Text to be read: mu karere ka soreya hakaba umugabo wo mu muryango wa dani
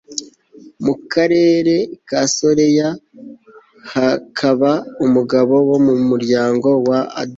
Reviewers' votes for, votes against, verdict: 1, 2, rejected